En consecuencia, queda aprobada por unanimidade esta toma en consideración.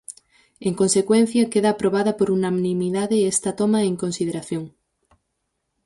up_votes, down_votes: 4, 0